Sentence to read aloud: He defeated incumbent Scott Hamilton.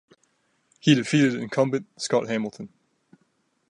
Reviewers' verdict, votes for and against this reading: accepted, 2, 0